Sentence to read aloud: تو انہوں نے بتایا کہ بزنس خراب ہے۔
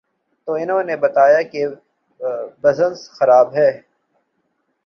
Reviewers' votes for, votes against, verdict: 1, 2, rejected